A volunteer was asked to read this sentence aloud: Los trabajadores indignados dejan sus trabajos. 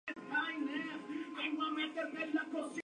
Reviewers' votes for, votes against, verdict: 0, 2, rejected